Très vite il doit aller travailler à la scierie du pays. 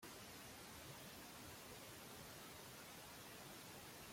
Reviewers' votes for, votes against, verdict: 0, 2, rejected